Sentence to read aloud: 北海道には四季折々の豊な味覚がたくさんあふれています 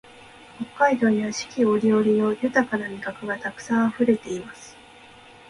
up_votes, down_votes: 2, 0